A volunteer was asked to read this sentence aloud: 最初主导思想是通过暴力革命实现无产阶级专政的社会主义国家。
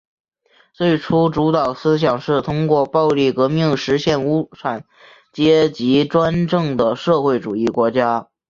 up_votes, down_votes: 4, 1